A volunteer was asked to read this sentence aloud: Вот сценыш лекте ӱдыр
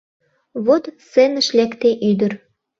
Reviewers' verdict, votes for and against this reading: accepted, 2, 0